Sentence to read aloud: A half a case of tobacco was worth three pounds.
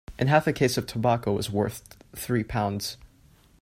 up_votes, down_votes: 2, 1